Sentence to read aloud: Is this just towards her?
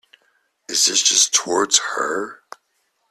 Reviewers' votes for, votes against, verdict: 2, 1, accepted